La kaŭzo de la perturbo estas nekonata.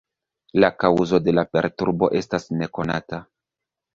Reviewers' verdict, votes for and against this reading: rejected, 1, 2